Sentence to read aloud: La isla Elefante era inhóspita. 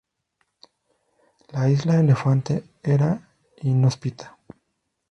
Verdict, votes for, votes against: accepted, 2, 0